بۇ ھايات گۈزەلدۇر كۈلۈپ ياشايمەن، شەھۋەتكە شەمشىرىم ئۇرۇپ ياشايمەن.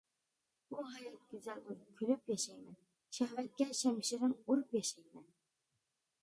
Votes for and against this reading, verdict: 0, 2, rejected